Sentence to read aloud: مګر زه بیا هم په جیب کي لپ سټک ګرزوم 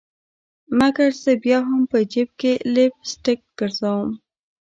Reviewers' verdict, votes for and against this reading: rejected, 1, 2